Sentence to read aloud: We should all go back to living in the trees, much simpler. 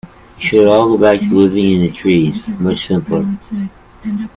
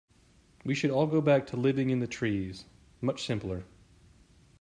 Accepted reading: second